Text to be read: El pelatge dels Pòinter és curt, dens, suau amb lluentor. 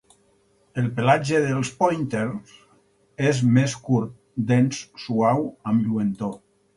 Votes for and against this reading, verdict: 0, 4, rejected